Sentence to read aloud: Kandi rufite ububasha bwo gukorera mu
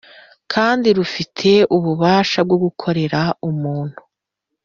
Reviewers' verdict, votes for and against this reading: rejected, 0, 2